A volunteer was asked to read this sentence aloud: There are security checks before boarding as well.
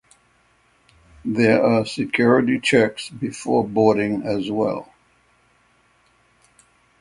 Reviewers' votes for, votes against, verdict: 3, 0, accepted